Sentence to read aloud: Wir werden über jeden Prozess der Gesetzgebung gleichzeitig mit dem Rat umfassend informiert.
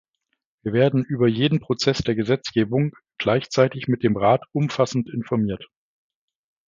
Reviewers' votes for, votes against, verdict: 2, 0, accepted